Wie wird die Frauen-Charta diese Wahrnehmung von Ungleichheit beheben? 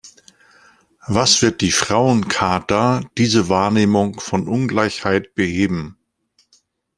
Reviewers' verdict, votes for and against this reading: rejected, 1, 2